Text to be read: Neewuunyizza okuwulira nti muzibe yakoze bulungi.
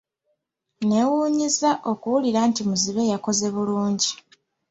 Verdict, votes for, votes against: accepted, 2, 0